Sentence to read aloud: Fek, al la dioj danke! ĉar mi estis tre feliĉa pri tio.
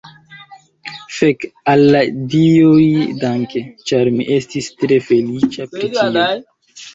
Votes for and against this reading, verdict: 1, 2, rejected